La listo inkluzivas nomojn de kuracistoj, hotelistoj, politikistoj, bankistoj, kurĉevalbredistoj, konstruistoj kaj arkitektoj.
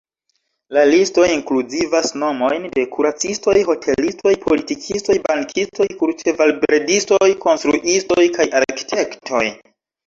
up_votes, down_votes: 0, 2